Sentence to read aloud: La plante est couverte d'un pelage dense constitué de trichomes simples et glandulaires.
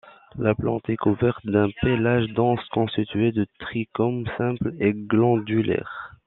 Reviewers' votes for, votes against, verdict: 0, 2, rejected